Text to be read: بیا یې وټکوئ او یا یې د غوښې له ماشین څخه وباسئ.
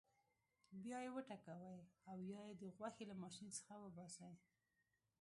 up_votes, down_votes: 2, 0